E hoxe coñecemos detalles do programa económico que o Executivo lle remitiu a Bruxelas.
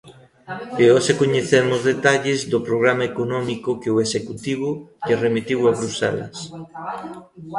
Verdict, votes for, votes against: rejected, 1, 2